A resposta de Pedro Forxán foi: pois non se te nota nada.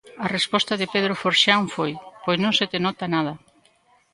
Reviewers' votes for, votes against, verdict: 1, 2, rejected